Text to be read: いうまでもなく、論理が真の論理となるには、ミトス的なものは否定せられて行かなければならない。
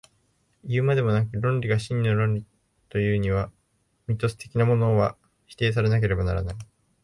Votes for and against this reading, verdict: 0, 2, rejected